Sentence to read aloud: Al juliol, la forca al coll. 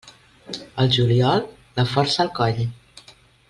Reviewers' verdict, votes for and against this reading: accepted, 2, 0